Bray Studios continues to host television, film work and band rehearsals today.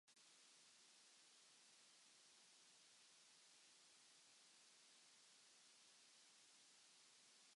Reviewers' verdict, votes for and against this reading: rejected, 0, 2